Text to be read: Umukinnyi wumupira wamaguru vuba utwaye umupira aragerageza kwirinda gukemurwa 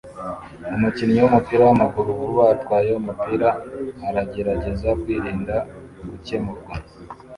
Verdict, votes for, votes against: rejected, 0, 2